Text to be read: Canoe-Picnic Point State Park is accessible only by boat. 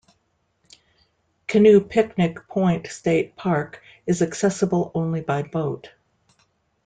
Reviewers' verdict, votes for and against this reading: accepted, 2, 0